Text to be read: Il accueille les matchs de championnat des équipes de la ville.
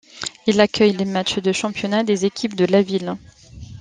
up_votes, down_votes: 2, 0